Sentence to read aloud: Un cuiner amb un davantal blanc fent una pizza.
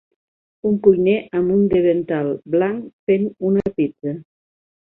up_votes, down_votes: 0, 2